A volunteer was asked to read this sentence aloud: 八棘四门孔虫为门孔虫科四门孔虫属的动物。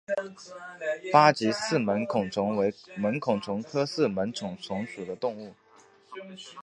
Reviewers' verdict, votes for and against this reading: rejected, 0, 2